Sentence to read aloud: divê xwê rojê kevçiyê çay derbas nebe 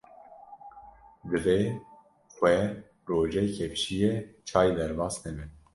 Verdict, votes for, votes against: rejected, 0, 2